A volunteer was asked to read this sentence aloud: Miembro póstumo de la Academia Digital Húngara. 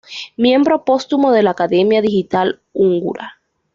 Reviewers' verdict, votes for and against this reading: accepted, 2, 0